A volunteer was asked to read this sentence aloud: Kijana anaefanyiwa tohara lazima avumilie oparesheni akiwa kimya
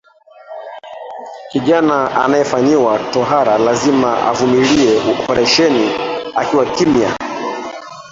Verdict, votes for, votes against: rejected, 0, 2